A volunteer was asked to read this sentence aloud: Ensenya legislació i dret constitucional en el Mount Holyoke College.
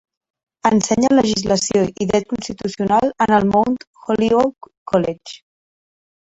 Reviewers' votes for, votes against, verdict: 2, 1, accepted